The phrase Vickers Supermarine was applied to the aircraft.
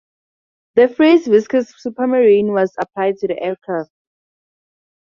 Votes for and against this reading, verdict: 2, 4, rejected